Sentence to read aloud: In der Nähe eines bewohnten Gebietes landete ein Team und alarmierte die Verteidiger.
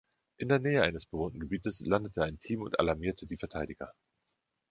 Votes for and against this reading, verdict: 2, 0, accepted